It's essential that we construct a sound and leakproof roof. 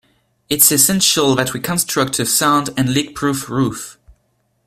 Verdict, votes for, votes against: accepted, 2, 0